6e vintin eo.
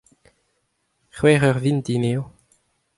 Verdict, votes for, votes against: rejected, 0, 2